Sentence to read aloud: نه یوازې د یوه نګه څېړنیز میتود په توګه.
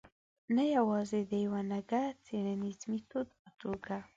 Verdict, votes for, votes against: rejected, 0, 2